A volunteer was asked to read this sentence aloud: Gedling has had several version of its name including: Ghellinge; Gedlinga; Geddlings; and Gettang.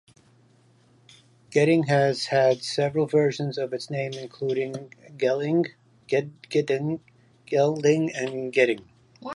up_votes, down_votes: 1, 2